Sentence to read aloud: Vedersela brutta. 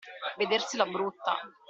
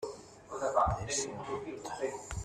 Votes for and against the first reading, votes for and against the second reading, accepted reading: 2, 0, 0, 2, first